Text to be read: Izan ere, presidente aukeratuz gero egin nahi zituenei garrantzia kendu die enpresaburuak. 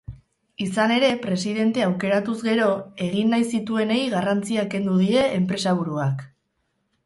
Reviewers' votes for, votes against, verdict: 4, 2, accepted